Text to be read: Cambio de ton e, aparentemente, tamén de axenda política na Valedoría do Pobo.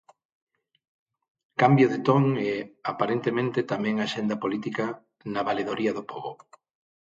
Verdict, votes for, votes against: rejected, 3, 6